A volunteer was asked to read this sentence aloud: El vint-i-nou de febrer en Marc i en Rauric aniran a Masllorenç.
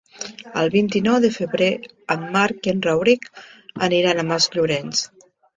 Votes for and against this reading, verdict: 2, 0, accepted